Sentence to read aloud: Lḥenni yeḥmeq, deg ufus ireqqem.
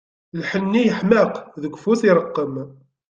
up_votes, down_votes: 2, 0